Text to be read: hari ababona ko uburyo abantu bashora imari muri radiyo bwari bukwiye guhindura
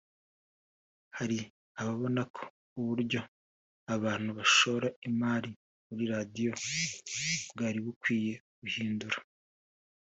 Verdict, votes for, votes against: accepted, 3, 1